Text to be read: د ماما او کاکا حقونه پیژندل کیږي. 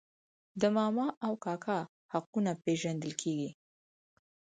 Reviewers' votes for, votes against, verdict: 4, 0, accepted